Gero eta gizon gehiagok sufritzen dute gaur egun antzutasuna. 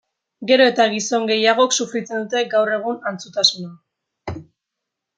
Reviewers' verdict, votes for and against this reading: accepted, 2, 0